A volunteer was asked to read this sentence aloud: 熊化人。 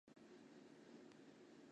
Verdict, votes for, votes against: rejected, 0, 3